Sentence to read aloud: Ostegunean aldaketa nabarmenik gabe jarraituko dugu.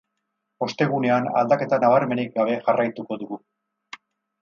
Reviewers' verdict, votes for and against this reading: rejected, 0, 2